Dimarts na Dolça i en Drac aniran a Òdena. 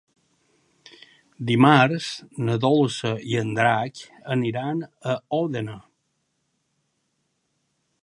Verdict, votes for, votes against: accepted, 4, 1